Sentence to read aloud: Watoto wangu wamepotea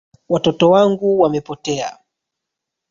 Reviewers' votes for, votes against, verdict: 1, 2, rejected